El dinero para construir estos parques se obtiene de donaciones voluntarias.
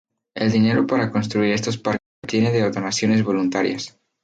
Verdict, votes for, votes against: rejected, 0, 2